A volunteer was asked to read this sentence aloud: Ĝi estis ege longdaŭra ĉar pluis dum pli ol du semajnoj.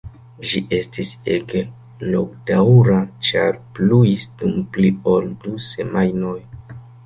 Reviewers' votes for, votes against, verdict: 2, 1, accepted